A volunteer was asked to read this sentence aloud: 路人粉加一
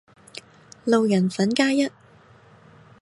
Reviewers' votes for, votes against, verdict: 2, 0, accepted